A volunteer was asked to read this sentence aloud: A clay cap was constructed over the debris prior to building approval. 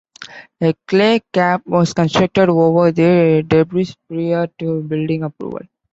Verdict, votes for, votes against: rejected, 1, 2